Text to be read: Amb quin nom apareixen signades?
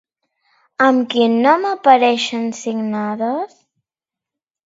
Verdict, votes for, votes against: accepted, 2, 0